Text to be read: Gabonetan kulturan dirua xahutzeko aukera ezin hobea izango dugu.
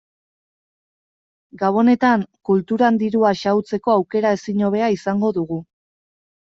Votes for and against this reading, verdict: 2, 0, accepted